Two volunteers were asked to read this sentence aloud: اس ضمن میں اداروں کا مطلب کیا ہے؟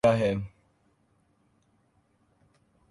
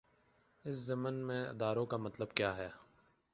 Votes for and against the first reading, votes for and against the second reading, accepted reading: 0, 2, 2, 0, second